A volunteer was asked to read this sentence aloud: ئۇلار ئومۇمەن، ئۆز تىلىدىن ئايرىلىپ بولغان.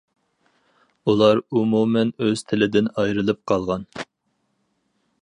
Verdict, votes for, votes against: rejected, 0, 4